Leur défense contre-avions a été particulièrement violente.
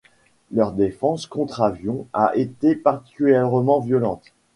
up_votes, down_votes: 2, 0